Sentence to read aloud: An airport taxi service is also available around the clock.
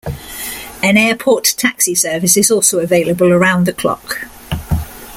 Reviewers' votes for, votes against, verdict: 2, 0, accepted